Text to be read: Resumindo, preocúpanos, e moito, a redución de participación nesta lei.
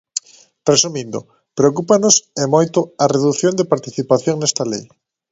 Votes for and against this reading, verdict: 2, 0, accepted